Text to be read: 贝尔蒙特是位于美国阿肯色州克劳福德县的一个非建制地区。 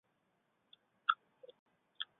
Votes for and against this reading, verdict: 1, 2, rejected